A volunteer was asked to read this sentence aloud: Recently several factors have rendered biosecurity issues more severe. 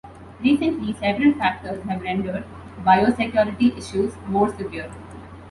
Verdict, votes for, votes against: accepted, 2, 0